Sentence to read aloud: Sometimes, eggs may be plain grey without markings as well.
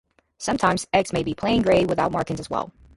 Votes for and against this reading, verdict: 0, 2, rejected